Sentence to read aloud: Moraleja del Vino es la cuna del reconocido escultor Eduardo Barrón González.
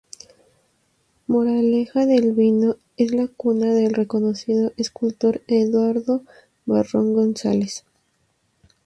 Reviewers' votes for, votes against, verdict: 2, 0, accepted